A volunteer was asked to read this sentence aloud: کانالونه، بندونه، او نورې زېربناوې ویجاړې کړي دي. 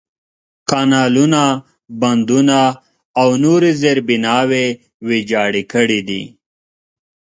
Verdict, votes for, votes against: accepted, 2, 0